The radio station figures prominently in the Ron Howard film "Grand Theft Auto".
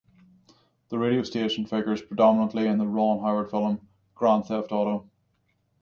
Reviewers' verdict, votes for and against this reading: rejected, 0, 3